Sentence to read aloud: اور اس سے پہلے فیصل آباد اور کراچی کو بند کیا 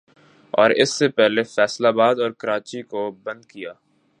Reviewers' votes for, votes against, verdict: 4, 0, accepted